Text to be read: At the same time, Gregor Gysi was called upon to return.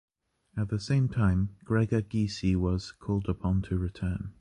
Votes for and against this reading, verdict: 2, 0, accepted